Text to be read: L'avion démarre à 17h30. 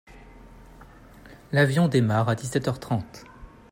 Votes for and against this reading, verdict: 0, 2, rejected